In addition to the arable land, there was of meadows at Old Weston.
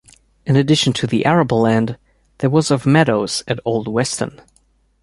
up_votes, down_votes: 2, 0